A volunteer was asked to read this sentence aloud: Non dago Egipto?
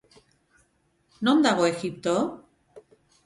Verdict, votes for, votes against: rejected, 2, 2